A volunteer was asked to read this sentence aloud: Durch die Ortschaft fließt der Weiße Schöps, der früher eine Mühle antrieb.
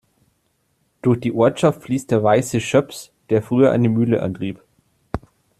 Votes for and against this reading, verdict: 2, 0, accepted